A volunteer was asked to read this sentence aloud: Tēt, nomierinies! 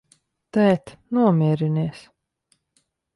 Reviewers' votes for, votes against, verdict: 2, 0, accepted